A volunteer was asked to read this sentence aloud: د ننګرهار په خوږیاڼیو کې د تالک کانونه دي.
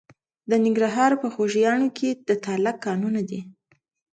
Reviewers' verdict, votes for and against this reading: accepted, 2, 0